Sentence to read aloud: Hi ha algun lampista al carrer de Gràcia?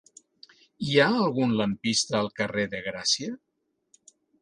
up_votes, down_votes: 3, 0